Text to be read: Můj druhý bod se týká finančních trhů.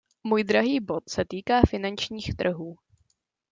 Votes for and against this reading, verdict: 1, 2, rejected